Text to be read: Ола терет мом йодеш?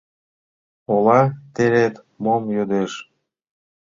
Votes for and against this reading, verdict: 2, 0, accepted